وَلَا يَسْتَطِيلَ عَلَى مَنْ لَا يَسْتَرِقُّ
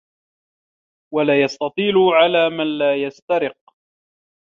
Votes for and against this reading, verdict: 1, 2, rejected